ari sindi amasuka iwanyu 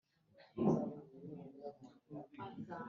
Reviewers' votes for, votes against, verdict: 1, 3, rejected